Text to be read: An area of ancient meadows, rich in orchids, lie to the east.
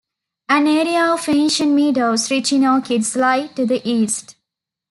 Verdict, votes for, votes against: rejected, 1, 2